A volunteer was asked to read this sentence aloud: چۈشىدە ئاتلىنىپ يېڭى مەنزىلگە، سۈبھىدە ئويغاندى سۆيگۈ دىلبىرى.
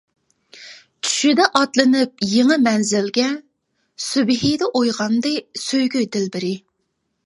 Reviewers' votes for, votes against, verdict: 2, 0, accepted